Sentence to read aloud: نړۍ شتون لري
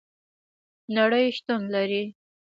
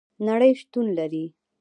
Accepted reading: first